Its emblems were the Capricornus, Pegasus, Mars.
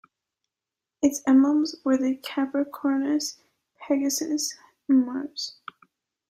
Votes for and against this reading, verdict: 2, 1, accepted